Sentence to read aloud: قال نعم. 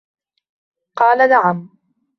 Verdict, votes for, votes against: accepted, 2, 1